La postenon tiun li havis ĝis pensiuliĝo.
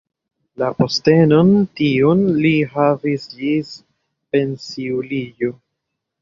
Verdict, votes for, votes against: accepted, 2, 1